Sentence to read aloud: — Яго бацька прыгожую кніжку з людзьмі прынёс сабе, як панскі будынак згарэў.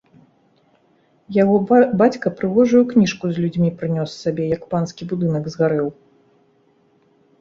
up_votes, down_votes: 1, 2